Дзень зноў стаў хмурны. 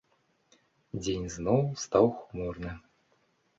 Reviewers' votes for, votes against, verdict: 2, 1, accepted